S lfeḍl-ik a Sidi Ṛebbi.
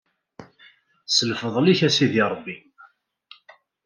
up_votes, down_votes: 2, 0